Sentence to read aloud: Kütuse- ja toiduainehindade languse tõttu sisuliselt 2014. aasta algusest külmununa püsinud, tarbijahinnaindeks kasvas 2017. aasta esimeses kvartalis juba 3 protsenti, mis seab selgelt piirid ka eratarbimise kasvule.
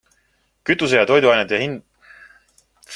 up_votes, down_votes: 0, 2